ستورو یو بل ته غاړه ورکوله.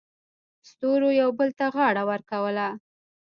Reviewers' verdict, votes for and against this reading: rejected, 1, 2